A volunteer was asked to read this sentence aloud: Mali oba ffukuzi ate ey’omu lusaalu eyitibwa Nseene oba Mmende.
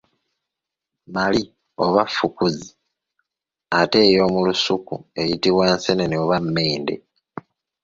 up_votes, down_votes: 1, 2